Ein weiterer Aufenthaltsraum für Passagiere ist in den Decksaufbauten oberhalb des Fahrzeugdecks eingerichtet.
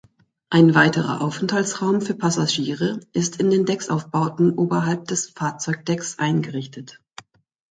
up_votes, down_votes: 2, 0